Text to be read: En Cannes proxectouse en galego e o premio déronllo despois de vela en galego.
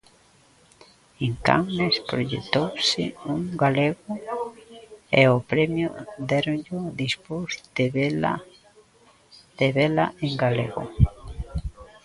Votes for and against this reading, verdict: 0, 2, rejected